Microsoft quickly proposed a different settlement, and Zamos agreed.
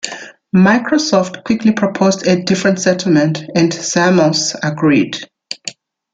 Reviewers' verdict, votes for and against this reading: accepted, 2, 0